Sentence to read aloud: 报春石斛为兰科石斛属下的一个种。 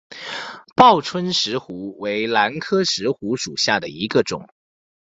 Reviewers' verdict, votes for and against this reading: accepted, 2, 0